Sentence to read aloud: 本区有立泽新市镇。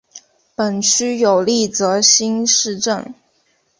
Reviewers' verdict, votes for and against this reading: accepted, 3, 1